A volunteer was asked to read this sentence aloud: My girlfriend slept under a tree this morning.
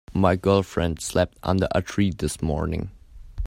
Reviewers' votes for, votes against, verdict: 3, 0, accepted